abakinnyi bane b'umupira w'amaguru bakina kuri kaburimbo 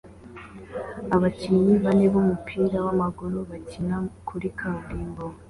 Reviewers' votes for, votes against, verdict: 2, 0, accepted